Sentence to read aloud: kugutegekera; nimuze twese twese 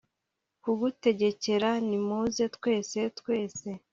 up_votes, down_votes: 2, 0